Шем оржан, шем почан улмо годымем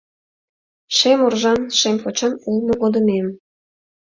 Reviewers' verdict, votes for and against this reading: accepted, 2, 0